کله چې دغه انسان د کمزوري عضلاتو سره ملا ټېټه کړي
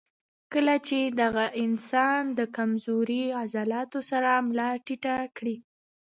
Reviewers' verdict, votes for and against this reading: rejected, 1, 2